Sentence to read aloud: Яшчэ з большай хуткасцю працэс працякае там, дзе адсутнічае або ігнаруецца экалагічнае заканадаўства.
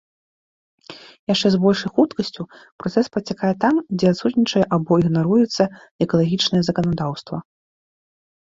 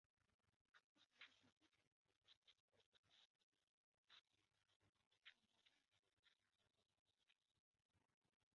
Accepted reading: first